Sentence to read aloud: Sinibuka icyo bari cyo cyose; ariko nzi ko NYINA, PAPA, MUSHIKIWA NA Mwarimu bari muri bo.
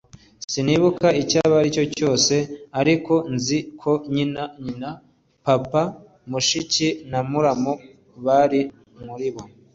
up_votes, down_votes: 2, 3